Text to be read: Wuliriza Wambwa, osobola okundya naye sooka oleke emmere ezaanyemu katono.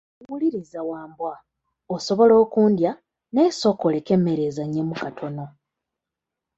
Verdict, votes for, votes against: accepted, 2, 0